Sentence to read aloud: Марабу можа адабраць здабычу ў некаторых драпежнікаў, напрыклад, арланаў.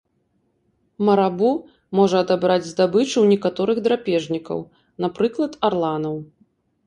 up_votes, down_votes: 2, 0